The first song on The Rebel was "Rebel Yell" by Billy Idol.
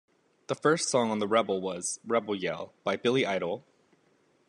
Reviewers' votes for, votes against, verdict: 2, 0, accepted